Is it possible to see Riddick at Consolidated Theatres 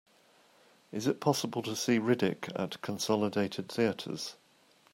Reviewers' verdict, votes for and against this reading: accepted, 2, 0